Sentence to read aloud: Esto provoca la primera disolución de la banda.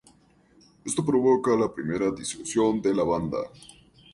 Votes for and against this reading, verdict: 0, 2, rejected